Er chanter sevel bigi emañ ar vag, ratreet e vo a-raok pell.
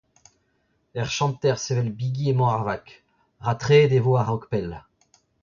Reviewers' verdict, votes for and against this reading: accepted, 2, 1